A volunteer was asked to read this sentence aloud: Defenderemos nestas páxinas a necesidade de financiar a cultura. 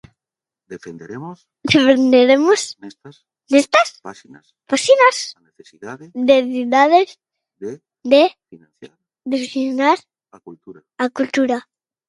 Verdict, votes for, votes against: rejected, 0, 2